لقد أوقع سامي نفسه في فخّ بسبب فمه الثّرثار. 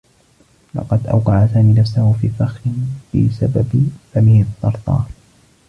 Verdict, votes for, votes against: accepted, 2, 1